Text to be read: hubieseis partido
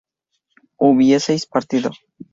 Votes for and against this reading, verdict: 2, 0, accepted